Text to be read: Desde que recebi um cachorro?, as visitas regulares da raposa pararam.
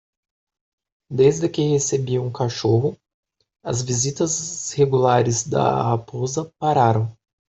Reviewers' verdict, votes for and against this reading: accepted, 2, 1